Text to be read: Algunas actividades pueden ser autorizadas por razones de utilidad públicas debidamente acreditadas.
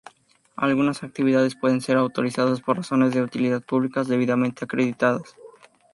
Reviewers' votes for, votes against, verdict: 0, 2, rejected